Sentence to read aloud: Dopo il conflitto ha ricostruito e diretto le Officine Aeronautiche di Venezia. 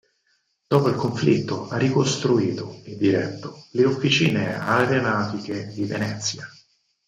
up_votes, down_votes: 2, 4